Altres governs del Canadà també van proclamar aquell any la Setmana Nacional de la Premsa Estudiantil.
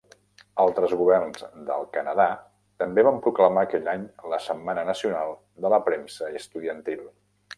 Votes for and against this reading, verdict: 0, 2, rejected